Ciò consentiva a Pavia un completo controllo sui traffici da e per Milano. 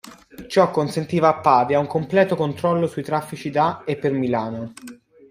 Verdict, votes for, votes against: rejected, 0, 2